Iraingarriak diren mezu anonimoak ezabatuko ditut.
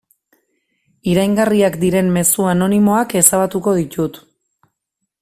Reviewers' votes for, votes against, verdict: 2, 0, accepted